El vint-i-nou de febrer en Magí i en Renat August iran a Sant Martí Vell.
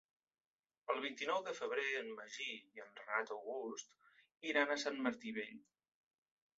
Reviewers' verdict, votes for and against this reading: rejected, 0, 2